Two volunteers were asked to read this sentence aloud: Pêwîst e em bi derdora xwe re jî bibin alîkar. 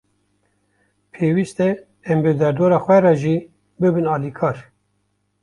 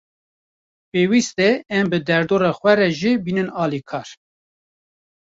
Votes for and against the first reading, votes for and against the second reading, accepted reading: 2, 0, 0, 2, first